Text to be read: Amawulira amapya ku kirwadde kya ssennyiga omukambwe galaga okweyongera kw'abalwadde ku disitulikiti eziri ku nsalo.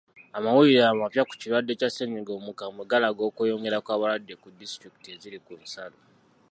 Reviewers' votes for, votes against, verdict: 2, 0, accepted